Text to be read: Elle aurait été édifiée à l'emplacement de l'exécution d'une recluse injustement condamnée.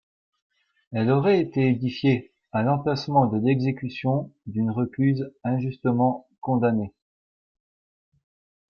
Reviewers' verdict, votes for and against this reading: accepted, 3, 1